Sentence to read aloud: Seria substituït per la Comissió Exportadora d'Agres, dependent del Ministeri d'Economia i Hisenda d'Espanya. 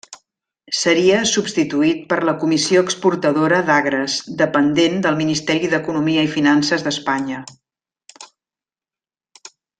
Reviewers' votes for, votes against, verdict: 0, 2, rejected